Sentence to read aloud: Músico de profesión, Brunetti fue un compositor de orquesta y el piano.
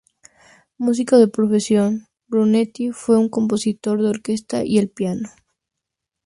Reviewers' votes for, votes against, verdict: 2, 0, accepted